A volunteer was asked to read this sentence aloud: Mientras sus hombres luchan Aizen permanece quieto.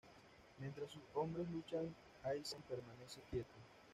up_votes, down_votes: 1, 2